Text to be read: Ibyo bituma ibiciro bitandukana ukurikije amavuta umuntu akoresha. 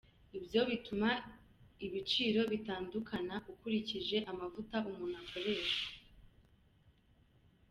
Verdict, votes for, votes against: accepted, 2, 0